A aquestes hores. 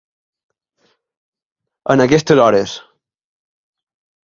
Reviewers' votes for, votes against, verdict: 0, 2, rejected